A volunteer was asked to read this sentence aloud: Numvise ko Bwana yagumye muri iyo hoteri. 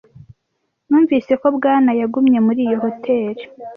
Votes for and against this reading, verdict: 2, 0, accepted